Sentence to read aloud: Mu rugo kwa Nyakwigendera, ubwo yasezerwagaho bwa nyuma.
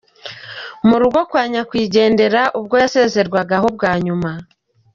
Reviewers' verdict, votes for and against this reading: accepted, 2, 1